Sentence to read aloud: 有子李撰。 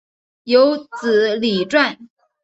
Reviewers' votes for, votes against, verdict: 2, 0, accepted